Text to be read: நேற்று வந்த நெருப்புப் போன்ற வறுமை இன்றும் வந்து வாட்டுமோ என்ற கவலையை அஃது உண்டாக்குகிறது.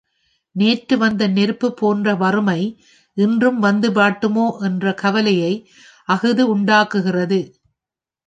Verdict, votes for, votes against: rejected, 1, 2